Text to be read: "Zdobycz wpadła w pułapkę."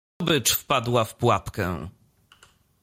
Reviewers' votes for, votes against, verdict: 0, 2, rejected